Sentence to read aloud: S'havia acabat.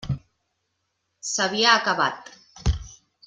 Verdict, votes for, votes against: accepted, 3, 0